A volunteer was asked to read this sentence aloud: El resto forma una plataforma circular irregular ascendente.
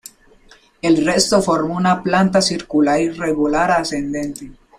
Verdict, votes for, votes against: rejected, 0, 2